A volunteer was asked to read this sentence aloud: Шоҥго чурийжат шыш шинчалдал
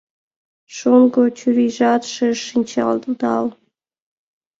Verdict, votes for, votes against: rejected, 0, 2